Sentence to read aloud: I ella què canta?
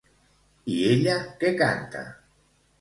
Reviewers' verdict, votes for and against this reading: accepted, 2, 0